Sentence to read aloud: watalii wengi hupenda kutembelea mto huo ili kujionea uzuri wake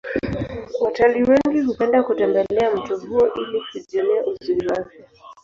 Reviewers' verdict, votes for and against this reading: accepted, 2, 0